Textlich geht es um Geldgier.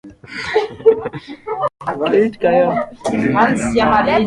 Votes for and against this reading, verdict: 0, 2, rejected